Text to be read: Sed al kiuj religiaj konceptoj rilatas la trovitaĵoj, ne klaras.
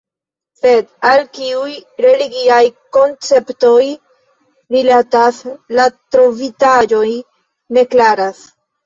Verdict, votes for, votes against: rejected, 0, 2